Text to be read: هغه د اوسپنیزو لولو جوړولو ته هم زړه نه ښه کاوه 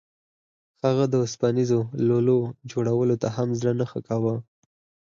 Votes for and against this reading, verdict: 4, 0, accepted